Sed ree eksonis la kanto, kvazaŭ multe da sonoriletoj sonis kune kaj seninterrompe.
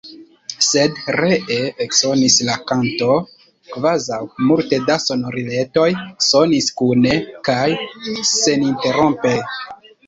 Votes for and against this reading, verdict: 1, 2, rejected